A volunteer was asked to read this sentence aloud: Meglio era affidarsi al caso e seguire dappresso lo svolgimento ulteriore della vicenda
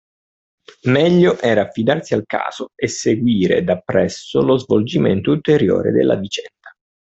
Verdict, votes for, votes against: accepted, 2, 0